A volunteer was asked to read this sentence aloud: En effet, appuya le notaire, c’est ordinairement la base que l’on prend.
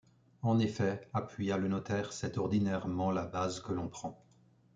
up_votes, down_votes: 2, 0